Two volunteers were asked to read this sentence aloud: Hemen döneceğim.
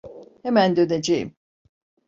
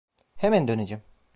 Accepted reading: first